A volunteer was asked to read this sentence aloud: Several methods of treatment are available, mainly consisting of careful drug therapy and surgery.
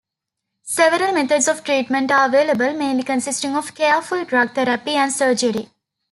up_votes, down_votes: 2, 0